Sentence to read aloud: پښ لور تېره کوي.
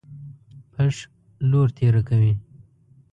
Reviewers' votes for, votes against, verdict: 2, 0, accepted